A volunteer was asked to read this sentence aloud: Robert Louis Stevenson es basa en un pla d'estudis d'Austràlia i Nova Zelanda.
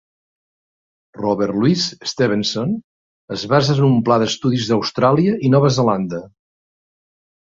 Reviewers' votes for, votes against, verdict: 2, 1, accepted